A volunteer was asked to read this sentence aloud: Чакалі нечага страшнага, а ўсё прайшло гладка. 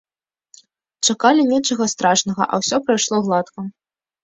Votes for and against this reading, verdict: 2, 0, accepted